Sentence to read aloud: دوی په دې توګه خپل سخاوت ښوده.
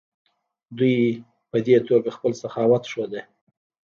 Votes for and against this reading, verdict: 1, 2, rejected